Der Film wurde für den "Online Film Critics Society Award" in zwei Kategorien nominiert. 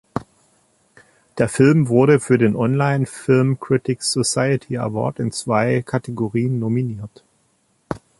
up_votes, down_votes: 2, 0